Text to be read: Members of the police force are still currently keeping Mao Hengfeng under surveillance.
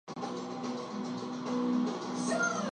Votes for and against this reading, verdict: 0, 2, rejected